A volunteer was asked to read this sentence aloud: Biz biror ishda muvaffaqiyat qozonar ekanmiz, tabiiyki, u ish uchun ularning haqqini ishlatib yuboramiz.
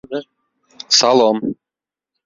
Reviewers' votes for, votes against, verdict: 0, 2, rejected